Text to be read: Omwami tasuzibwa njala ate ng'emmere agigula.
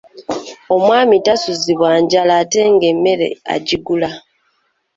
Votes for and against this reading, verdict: 2, 1, accepted